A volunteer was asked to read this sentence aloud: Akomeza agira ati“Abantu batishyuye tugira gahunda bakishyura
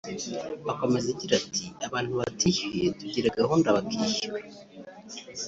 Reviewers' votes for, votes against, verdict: 2, 0, accepted